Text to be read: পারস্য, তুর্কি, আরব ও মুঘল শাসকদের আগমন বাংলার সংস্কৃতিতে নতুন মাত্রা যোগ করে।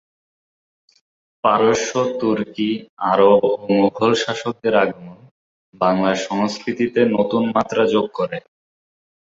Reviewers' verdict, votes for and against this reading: accepted, 26, 8